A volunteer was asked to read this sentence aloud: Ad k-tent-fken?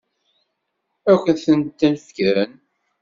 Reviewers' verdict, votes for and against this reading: rejected, 1, 2